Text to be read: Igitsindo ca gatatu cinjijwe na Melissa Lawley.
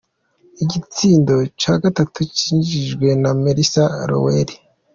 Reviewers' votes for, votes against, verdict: 2, 0, accepted